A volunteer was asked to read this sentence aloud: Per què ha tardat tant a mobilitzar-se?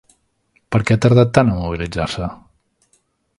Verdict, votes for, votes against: accepted, 2, 0